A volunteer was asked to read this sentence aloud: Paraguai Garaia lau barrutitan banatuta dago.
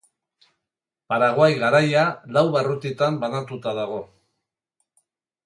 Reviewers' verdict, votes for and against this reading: accepted, 4, 0